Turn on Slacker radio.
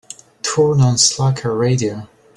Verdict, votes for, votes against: accepted, 2, 0